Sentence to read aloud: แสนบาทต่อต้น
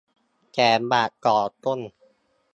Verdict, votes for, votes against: rejected, 1, 2